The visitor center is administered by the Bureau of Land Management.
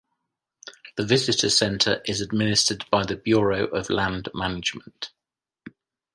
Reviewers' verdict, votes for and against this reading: accepted, 2, 0